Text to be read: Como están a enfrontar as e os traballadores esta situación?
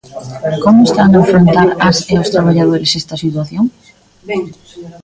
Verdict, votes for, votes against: rejected, 0, 2